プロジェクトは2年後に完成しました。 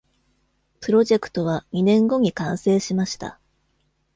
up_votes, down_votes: 0, 2